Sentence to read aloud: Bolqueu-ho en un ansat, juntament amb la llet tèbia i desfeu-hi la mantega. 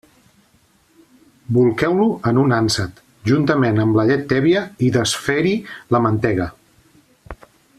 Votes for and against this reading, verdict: 0, 2, rejected